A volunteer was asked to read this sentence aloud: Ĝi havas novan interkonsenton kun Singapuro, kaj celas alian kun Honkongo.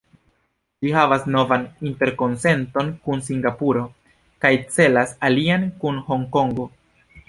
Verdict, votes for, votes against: rejected, 1, 2